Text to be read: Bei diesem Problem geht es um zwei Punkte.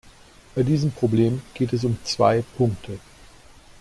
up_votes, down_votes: 2, 0